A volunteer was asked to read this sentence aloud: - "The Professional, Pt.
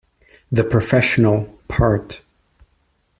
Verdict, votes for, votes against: rejected, 1, 2